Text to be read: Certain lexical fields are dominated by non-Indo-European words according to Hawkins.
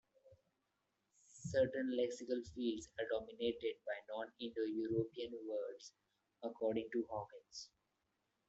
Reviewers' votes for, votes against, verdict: 1, 2, rejected